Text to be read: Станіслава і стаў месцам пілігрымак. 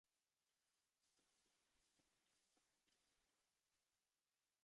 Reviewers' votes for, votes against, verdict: 0, 2, rejected